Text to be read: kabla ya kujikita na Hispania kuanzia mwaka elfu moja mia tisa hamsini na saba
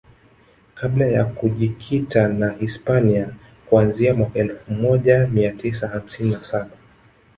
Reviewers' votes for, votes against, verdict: 2, 1, accepted